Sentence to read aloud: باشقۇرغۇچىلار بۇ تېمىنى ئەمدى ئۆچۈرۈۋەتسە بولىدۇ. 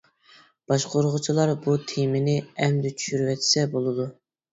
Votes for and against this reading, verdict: 1, 2, rejected